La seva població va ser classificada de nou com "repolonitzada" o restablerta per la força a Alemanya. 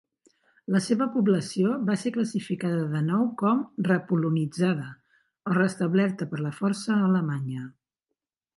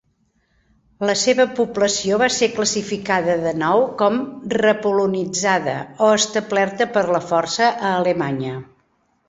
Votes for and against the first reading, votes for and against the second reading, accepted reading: 2, 0, 1, 2, first